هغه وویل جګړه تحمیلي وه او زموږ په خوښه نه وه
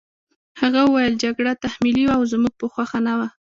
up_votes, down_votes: 0, 2